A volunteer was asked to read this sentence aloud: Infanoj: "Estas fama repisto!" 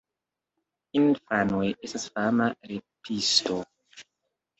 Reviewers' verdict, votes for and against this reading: rejected, 2, 3